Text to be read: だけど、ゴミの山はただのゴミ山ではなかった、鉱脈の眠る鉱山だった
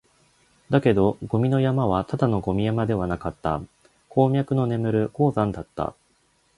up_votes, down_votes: 2, 0